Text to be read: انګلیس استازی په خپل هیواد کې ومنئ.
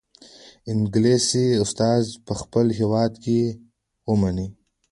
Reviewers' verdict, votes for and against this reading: accepted, 2, 0